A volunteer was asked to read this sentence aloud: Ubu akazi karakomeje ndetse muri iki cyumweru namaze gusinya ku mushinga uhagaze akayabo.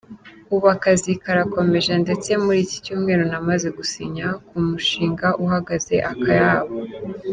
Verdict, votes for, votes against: accepted, 2, 0